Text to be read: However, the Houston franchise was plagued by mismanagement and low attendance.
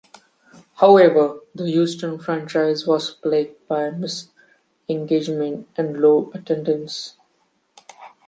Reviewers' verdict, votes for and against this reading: rejected, 1, 2